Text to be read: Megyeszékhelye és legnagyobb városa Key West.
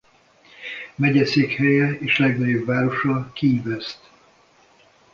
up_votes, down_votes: 2, 0